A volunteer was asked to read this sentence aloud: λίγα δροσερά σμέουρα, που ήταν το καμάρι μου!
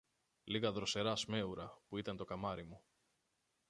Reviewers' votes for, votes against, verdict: 1, 2, rejected